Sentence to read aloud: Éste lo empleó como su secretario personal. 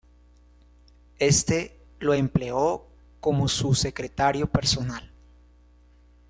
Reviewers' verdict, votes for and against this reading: accepted, 3, 0